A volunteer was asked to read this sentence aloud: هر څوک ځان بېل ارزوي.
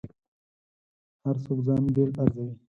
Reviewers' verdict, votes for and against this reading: accepted, 4, 0